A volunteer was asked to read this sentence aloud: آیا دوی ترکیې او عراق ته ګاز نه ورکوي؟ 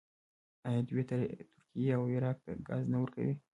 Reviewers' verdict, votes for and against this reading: accepted, 2, 1